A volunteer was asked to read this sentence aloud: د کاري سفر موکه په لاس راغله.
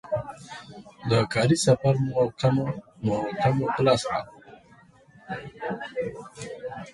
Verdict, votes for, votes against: rejected, 1, 2